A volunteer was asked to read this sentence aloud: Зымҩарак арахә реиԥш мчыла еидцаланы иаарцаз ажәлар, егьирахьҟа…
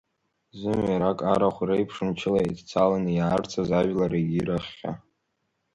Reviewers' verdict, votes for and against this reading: rejected, 1, 2